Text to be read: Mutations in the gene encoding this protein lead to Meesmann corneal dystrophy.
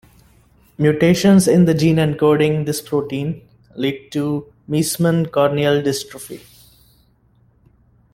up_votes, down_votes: 2, 0